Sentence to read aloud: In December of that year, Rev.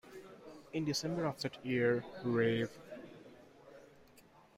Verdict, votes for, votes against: rejected, 1, 2